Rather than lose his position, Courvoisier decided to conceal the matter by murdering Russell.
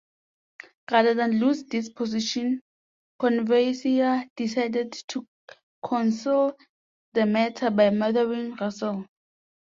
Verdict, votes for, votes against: rejected, 0, 2